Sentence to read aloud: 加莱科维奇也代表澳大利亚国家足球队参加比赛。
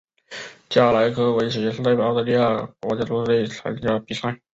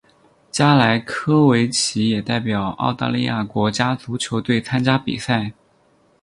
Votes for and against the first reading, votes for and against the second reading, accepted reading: 1, 2, 8, 0, second